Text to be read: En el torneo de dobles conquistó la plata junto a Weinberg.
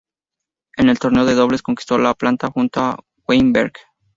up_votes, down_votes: 0, 2